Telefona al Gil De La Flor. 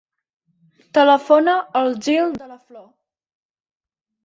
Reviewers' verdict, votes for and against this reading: rejected, 0, 2